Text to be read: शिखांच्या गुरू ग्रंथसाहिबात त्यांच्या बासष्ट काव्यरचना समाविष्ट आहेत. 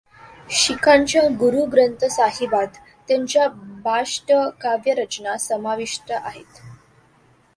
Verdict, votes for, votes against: accepted, 2, 1